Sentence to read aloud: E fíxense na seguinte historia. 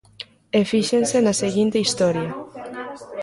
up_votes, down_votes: 0, 3